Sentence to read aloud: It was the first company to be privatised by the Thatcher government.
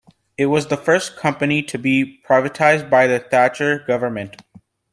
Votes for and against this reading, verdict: 2, 0, accepted